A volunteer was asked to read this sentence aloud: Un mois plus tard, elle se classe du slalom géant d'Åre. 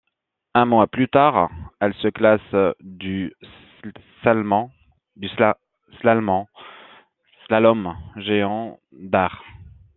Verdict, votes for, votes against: rejected, 0, 2